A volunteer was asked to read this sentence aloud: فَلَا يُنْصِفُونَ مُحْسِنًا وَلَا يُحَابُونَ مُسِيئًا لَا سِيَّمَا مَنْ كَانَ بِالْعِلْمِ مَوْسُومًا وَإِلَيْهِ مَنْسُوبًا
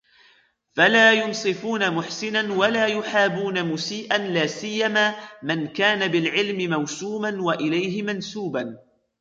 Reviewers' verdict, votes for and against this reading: rejected, 1, 2